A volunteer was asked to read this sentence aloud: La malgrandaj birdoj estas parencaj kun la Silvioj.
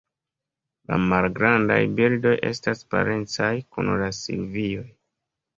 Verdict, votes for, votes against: accepted, 4, 0